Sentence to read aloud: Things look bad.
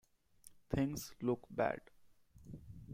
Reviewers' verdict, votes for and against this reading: accepted, 2, 0